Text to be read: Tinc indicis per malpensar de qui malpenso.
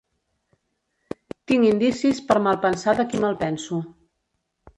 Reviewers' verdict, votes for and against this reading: accepted, 3, 2